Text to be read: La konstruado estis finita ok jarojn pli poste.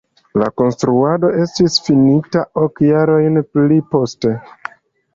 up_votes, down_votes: 2, 0